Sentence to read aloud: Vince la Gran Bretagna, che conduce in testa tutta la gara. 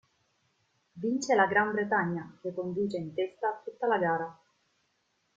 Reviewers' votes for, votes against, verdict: 2, 0, accepted